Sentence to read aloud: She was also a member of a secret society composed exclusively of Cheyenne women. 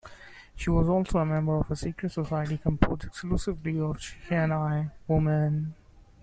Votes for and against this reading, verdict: 0, 2, rejected